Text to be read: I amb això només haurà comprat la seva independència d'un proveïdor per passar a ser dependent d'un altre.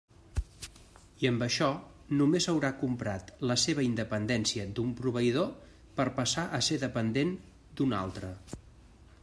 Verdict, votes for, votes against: accepted, 3, 0